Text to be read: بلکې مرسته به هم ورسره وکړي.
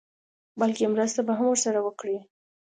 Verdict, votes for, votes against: accepted, 2, 0